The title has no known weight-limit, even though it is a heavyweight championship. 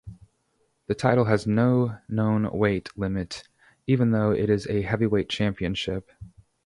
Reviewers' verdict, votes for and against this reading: accepted, 2, 0